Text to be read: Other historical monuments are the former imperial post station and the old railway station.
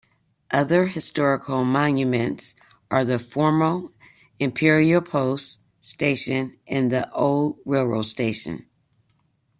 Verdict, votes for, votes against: rejected, 0, 2